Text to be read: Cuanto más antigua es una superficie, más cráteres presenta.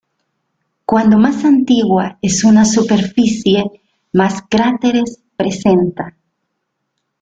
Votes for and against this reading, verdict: 1, 2, rejected